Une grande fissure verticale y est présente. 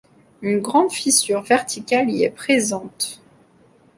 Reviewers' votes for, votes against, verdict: 2, 0, accepted